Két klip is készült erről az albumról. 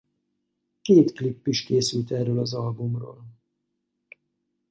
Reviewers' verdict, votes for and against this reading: accepted, 4, 0